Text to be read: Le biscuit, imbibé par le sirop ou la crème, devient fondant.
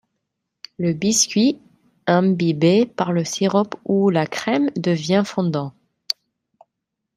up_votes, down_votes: 0, 2